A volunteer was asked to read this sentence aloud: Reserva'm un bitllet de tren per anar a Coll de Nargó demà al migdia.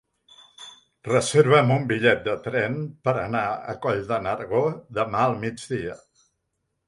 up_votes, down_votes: 3, 1